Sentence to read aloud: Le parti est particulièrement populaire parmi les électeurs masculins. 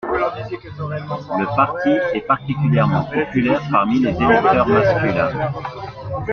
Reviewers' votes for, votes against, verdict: 0, 2, rejected